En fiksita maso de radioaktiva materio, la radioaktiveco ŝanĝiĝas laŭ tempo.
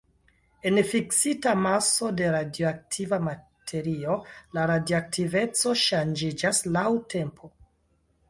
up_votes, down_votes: 2, 0